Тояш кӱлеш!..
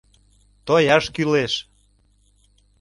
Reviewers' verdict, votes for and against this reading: accepted, 2, 0